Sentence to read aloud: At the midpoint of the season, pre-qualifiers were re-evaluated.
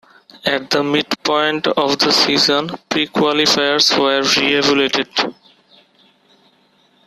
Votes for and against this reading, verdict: 1, 2, rejected